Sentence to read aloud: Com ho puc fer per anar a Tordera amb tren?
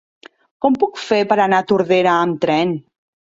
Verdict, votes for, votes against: rejected, 1, 2